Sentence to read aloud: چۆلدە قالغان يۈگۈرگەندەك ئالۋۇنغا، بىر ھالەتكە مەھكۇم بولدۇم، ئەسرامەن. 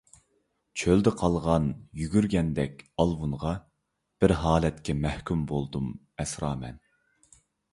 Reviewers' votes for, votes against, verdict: 2, 0, accepted